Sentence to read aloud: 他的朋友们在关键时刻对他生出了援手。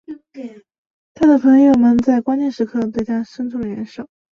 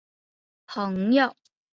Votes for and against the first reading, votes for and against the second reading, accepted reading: 3, 0, 0, 2, first